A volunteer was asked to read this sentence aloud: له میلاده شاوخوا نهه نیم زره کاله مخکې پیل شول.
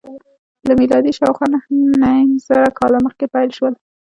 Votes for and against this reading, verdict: 2, 0, accepted